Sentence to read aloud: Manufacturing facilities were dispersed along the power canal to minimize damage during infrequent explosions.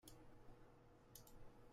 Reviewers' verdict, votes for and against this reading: rejected, 0, 2